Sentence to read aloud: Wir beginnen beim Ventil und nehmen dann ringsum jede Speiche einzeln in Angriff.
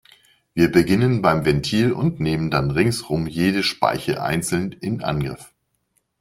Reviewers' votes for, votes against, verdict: 2, 0, accepted